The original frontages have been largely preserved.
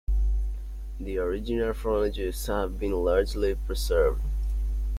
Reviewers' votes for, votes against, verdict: 1, 2, rejected